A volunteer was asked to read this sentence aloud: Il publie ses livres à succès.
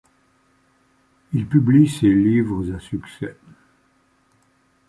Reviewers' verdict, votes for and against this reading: accepted, 2, 0